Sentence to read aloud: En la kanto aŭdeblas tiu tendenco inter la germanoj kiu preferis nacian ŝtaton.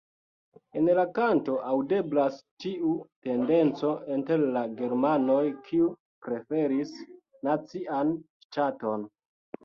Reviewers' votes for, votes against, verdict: 1, 2, rejected